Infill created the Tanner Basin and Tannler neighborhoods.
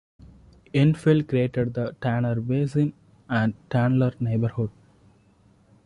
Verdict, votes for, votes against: accepted, 2, 1